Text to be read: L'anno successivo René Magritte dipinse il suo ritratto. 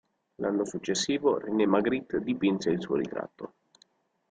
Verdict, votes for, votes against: accepted, 3, 1